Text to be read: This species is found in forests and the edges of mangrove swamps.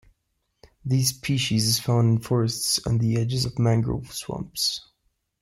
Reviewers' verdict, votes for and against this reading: rejected, 1, 2